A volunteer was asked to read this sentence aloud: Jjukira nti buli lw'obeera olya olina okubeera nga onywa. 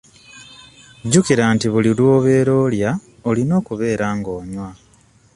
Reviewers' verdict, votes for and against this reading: accepted, 2, 0